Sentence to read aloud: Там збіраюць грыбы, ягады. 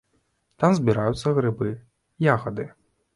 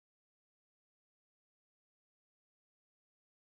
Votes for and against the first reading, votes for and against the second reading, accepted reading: 2, 1, 0, 2, first